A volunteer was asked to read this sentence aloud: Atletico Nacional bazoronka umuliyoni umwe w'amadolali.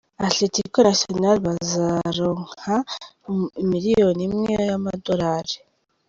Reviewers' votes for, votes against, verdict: 1, 2, rejected